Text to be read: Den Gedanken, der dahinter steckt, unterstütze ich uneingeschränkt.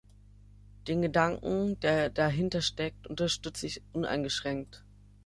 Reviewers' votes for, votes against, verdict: 3, 0, accepted